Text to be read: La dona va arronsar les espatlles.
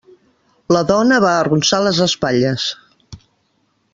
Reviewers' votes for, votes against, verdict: 3, 0, accepted